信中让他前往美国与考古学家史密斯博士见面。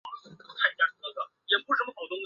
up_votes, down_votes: 0, 2